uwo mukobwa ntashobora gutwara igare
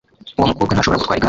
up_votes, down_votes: 0, 2